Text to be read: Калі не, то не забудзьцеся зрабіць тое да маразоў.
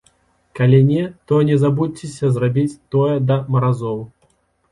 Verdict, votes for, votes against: accepted, 2, 0